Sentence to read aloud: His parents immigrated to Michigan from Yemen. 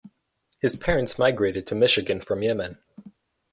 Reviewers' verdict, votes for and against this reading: rejected, 2, 2